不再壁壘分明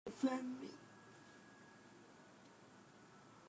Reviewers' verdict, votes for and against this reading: rejected, 0, 2